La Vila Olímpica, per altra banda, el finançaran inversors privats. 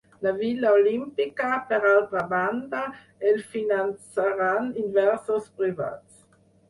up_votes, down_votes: 2, 4